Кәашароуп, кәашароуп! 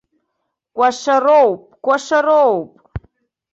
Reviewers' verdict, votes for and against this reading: accepted, 2, 0